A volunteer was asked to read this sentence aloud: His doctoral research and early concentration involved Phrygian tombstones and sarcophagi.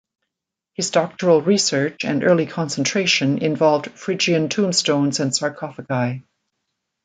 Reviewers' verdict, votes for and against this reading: accepted, 2, 0